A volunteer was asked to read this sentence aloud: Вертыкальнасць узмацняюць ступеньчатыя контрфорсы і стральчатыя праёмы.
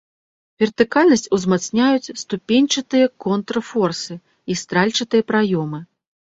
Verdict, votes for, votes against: rejected, 0, 2